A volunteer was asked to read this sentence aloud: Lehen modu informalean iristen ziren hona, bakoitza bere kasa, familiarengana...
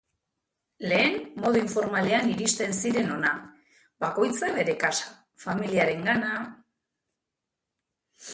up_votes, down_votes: 2, 0